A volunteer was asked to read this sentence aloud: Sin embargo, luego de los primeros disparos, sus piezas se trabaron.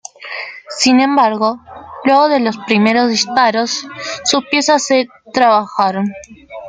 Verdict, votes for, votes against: rejected, 0, 2